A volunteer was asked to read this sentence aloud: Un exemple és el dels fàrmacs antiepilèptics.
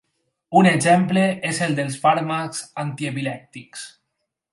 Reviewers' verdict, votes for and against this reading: accepted, 6, 0